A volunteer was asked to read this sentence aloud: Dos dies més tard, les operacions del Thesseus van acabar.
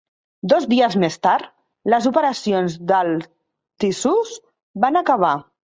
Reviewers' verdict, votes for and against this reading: rejected, 0, 2